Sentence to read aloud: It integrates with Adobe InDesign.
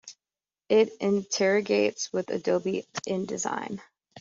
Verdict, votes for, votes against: rejected, 1, 2